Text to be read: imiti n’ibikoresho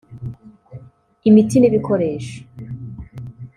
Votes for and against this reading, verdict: 1, 2, rejected